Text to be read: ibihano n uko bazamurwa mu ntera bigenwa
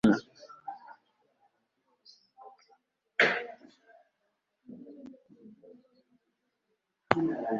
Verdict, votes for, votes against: rejected, 0, 2